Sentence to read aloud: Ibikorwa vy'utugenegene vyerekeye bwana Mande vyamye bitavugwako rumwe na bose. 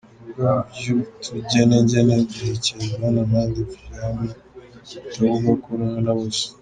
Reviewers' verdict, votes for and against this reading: rejected, 0, 2